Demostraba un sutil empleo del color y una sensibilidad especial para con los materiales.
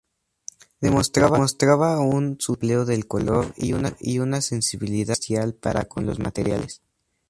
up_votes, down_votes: 0, 4